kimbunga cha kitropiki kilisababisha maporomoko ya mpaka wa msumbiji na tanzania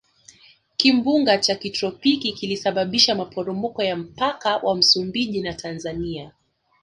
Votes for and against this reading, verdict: 2, 0, accepted